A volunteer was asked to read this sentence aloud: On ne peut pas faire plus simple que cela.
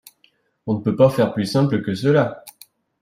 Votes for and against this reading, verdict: 2, 0, accepted